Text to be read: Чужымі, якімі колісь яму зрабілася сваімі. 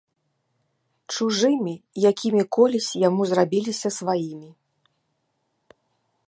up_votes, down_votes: 0, 2